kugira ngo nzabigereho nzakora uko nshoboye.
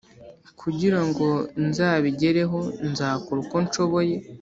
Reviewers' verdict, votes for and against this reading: accepted, 2, 0